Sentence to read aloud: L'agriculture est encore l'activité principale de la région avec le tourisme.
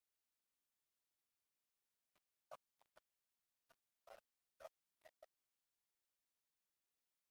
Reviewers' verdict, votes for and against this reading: rejected, 0, 2